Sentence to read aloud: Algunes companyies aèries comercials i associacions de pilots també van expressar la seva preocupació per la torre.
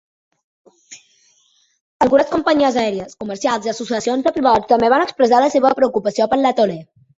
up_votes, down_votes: 0, 2